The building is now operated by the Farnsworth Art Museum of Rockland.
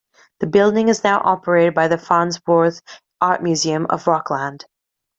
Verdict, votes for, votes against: rejected, 0, 2